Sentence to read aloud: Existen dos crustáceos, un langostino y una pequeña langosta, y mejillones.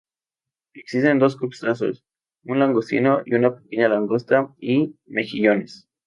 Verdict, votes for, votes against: rejected, 0, 2